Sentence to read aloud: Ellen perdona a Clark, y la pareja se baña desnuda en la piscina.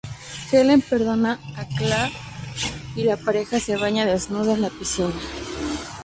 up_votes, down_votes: 0, 2